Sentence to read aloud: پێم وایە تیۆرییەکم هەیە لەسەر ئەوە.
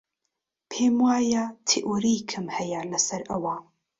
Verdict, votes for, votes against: rejected, 1, 2